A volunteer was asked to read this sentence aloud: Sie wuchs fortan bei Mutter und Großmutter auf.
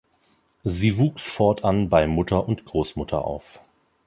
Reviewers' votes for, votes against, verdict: 4, 0, accepted